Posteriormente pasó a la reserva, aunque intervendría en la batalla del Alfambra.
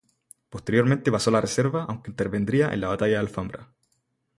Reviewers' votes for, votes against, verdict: 0, 2, rejected